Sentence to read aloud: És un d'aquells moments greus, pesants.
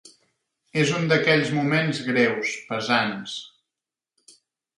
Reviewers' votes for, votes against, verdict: 4, 0, accepted